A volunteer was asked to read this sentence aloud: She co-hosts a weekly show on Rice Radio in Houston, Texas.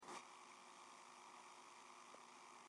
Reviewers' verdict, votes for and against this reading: rejected, 0, 2